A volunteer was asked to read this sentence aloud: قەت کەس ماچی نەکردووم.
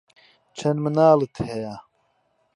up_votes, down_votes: 0, 2